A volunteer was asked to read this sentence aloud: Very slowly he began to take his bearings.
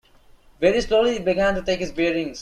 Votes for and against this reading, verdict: 0, 2, rejected